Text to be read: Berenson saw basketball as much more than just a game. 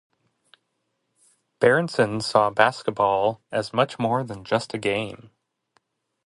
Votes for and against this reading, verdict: 0, 2, rejected